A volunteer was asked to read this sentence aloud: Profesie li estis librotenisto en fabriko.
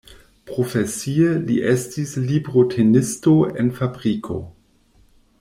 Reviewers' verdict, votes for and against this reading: accepted, 2, 1